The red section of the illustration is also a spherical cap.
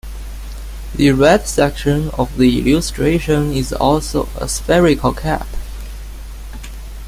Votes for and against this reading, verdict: 2, 0, accepted